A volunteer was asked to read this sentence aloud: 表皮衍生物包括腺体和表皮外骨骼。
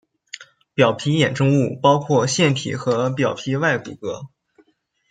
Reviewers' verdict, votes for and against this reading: accepted, 2, 0